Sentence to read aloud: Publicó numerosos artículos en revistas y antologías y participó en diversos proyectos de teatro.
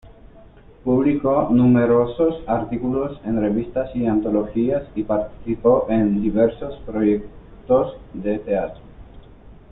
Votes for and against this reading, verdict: 0, 2, rejected